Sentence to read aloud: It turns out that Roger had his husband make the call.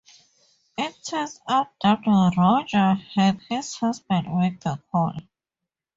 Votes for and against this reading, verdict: 2, 4, rejected